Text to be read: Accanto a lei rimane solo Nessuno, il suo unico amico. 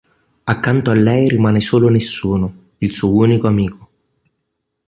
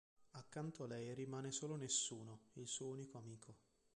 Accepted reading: first